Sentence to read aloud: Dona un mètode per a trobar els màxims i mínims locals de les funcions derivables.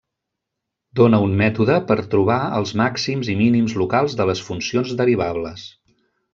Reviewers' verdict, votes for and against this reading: rejected, 1, 2